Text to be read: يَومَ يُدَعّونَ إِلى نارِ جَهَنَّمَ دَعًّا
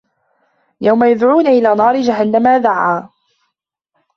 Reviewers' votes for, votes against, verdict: 1, 2, rejected